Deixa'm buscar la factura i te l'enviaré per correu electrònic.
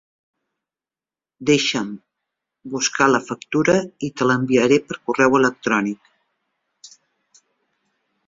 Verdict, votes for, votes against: rejected, 0, 2